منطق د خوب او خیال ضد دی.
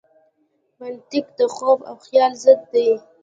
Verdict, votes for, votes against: accepted, 2, 1